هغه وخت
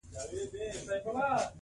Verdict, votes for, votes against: accepted, 2, 1